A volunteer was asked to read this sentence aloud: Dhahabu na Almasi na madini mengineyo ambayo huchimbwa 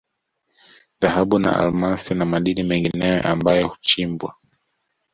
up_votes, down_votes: 2, 0